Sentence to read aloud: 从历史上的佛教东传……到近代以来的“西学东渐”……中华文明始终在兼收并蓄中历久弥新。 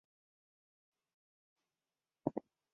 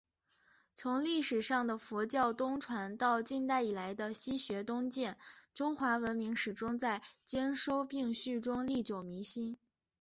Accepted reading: second